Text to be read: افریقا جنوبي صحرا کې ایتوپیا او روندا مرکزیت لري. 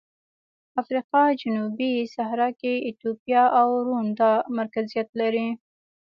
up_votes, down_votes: 1, 2